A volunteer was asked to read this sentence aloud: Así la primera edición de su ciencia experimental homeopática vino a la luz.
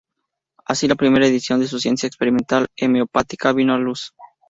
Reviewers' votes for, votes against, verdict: 0, 2, rejected